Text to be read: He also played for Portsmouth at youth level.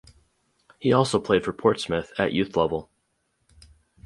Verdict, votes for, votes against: accepted, 4, 0